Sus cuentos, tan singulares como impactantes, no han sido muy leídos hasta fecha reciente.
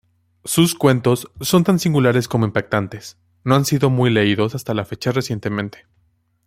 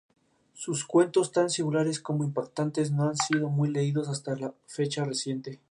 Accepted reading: second